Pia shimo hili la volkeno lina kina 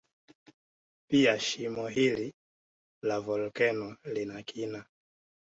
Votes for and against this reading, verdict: 2, 0, accepted